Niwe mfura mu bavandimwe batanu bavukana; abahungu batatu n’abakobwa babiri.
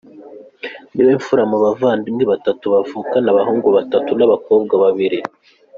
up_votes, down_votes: 1, 2